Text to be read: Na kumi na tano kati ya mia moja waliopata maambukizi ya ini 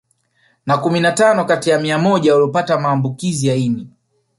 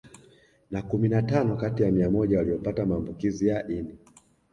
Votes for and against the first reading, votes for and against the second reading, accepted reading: 1, 2, 2, 1, second